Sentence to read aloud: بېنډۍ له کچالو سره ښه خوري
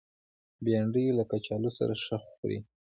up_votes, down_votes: 0, 2